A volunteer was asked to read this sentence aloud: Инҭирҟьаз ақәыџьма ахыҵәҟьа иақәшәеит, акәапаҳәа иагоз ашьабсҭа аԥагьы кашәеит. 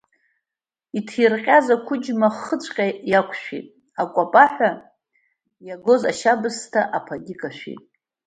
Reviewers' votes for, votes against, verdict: 2, 0, accepted